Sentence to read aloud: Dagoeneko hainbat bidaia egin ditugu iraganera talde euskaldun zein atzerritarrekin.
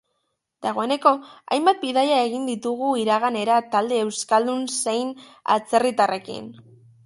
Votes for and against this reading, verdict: 2, 0, accepted